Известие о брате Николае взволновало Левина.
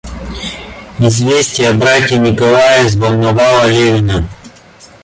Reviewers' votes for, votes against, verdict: 2, 0, accepted